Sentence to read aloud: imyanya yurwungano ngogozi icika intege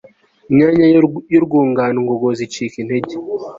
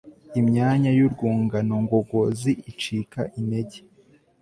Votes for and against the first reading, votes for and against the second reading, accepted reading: 1, 2, 2, 0, second